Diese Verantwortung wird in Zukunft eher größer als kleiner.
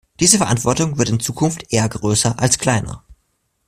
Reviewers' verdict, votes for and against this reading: accepted, 2, 0